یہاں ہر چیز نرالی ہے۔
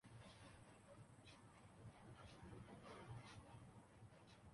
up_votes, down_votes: 0, 2